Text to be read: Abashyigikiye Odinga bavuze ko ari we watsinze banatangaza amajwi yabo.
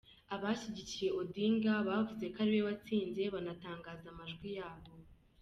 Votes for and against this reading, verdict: 1, 2, rejected